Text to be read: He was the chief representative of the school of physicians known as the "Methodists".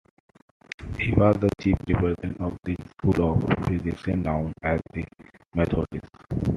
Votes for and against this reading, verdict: 0, 2, rejected